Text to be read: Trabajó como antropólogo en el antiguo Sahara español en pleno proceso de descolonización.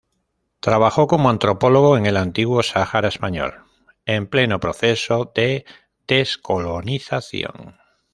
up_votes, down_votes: 2, 0